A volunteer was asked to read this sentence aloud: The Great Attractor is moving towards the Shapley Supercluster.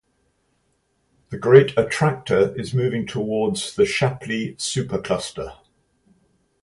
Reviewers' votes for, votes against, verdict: 4, 0, accepted